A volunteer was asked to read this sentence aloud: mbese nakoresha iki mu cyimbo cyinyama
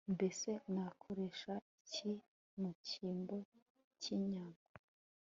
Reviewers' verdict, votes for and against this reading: accepted, 2, 0